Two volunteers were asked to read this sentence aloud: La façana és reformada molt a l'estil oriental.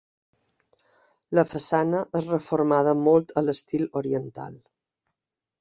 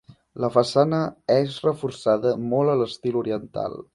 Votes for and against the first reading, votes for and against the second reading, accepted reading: 2, 0, 1, 2, first